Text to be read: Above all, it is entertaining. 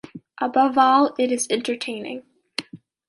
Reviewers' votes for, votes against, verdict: 2, 0, accepted